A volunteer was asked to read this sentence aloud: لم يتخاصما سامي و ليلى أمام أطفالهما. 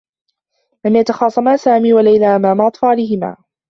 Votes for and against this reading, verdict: 0, 2, rejected